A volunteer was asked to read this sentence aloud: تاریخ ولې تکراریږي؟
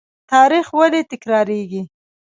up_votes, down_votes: 2, 0